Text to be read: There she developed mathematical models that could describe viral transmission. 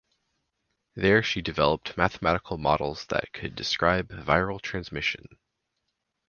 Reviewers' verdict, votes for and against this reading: accepted, 4, 0